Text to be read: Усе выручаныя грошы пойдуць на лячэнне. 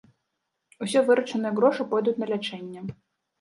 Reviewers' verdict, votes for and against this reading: accepted, 2, 1